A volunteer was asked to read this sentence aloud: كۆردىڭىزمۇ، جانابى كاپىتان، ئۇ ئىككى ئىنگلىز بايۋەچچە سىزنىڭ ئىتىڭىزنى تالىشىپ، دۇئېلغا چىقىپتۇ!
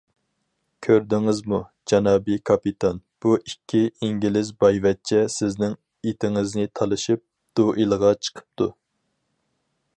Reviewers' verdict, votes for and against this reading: accepted, 4, 2